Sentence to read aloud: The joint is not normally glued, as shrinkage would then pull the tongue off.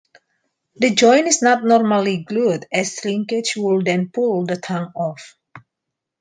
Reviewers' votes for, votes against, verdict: 2, 1, accepted